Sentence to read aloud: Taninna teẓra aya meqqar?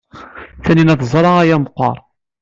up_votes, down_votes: 1, 2